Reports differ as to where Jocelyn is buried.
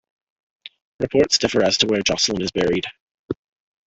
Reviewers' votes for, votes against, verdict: 0, 2, rejected